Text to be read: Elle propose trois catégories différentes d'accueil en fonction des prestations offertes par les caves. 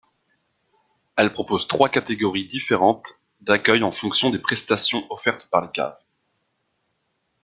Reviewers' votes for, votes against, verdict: 2, 0, accepted